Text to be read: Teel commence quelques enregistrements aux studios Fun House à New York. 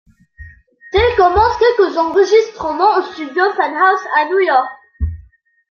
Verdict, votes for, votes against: accepted, 2, 0